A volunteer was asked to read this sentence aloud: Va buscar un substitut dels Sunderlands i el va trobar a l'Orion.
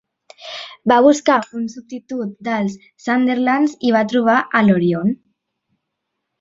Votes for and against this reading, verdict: 1, 3, rejected